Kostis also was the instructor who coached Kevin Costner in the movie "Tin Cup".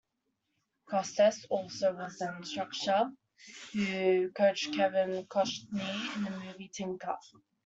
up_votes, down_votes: 0, 2